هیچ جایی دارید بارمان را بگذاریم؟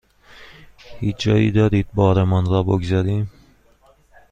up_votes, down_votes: 2, 0